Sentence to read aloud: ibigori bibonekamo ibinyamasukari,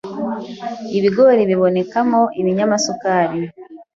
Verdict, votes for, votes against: accepted, 2, 0